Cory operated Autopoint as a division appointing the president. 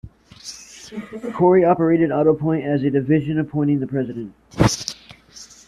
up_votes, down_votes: 2, 0